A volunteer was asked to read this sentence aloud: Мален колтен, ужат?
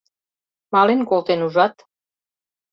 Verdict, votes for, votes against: accepted, 2, 0